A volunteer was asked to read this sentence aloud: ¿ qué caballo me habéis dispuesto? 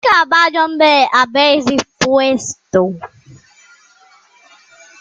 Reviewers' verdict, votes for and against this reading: rejected, 0, 2